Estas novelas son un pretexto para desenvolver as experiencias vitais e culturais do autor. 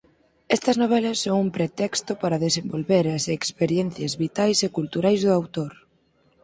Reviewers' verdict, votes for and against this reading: accepted, 4, 0